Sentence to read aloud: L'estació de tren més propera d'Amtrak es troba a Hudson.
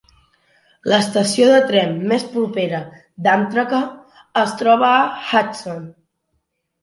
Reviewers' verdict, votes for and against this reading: accepted, 2, 1